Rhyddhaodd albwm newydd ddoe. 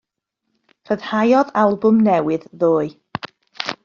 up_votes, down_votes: 2, 0